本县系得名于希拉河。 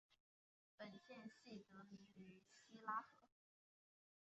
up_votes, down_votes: 0, 4